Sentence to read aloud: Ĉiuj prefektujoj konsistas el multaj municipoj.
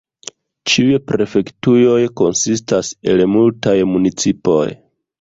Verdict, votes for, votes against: rejected, 1, 2